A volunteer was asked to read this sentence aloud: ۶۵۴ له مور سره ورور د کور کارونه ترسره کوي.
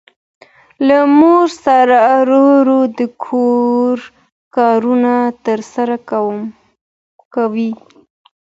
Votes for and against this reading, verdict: 0, 2, rejected